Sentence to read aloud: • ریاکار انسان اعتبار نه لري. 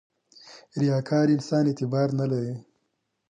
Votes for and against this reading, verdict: 2, 0, accepted